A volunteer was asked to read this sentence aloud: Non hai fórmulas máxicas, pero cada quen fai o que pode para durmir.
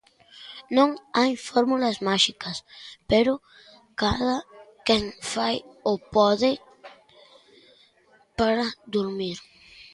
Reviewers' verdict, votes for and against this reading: rejected, 0, 3